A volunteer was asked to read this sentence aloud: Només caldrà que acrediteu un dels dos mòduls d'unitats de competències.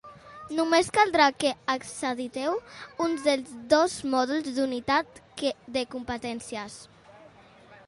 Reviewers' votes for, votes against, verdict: 0, 2, rejected